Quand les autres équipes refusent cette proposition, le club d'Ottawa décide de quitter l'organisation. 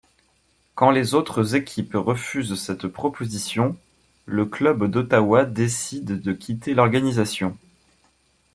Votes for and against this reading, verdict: 2, 0, accepted